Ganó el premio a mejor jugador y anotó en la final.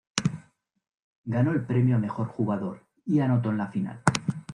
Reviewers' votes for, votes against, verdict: 2, 0, accepted